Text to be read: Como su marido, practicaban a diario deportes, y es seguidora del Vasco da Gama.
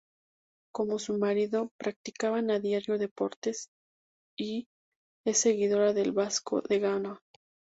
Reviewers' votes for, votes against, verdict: 0, 2, rejected